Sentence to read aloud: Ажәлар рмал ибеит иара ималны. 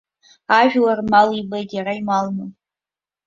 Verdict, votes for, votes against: accepted, 2, 1